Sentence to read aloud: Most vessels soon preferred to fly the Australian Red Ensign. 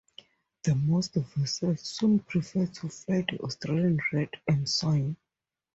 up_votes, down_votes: 0, 4